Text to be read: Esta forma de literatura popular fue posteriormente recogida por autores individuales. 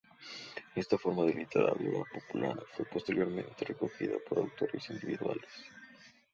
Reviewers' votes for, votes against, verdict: 0, 2, rejected